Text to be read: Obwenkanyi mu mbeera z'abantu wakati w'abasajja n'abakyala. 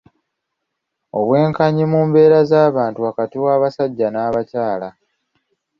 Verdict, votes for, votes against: accepted, 2, 1